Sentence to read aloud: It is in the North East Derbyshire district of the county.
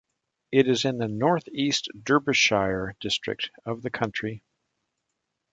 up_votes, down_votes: 0, 2